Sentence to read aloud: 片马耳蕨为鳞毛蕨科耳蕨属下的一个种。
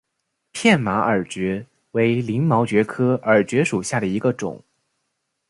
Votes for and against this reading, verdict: 2, 0, accepted